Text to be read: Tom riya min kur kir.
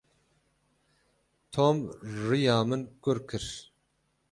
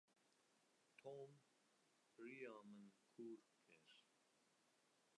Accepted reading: first